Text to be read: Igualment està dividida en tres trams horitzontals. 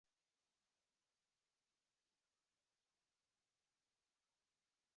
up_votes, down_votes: 0, 2